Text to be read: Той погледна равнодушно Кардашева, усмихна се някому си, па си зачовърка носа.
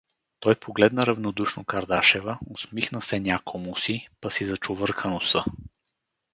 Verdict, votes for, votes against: rejected, 2, 2